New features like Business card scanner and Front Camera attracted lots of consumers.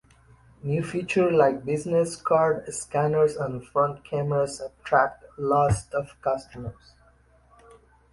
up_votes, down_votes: 1, 2